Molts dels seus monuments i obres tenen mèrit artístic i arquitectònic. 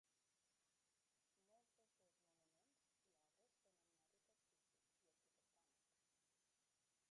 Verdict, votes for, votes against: rejected, 0, 5